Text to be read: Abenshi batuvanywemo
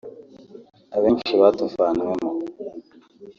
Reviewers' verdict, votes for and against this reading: accepted, 2, 0